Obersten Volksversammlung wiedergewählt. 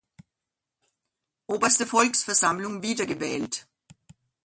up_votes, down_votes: 0, 2